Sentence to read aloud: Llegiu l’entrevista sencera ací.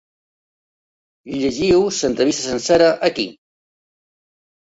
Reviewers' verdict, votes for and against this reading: rejected, 0, 2